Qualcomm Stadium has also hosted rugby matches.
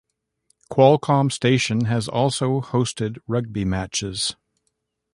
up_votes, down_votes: 0, 2